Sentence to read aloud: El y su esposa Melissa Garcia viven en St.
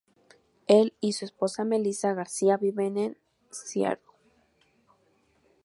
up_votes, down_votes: 0, 2